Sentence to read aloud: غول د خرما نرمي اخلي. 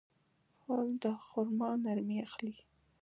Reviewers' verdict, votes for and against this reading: accepted, 2, 0